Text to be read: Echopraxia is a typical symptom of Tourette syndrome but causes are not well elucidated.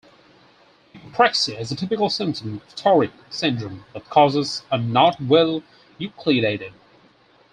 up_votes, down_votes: 0, 4